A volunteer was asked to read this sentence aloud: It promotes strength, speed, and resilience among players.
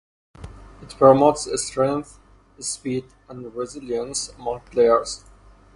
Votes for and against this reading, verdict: 2, 0, accepted